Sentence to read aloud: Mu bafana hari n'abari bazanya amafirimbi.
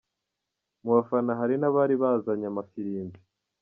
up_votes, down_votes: 2, 1